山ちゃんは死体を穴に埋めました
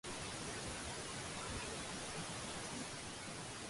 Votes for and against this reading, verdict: 0, 6, rejected